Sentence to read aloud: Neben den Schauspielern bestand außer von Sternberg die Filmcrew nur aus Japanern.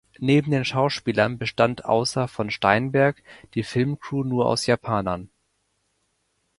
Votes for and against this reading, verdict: 0, 2, rejected